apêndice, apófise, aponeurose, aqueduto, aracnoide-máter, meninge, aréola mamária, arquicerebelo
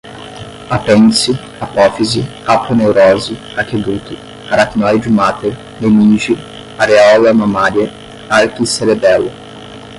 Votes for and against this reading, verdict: 5, 5, rejected